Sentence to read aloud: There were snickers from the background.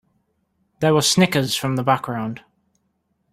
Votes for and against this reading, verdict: 2, 0, accepted